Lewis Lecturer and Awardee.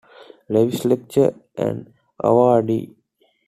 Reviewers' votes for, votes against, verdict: 2, 1, accepted